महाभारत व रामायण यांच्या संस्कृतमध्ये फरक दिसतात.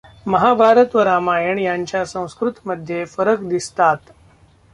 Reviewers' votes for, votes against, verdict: 0, 2, rejected